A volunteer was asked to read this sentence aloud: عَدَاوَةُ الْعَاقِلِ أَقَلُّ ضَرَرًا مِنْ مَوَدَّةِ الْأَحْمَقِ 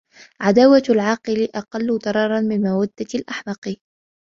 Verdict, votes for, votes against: accepted, 2, 1